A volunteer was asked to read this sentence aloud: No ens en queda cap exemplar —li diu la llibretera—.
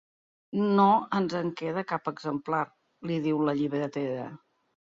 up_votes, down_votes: 3, 0